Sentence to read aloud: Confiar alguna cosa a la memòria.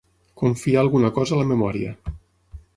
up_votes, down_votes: 6, 0